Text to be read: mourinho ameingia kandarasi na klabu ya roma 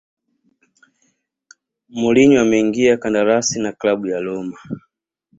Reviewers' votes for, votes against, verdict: 2, 0, accepted